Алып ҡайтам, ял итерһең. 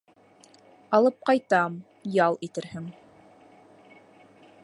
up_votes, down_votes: 2, 0